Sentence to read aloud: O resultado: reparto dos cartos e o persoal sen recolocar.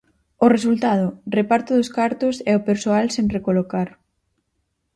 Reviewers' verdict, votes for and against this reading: accepted, 4, 0